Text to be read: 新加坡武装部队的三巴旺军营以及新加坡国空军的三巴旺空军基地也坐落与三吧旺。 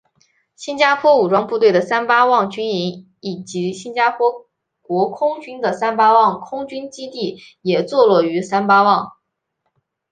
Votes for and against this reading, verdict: 2, 0, accepted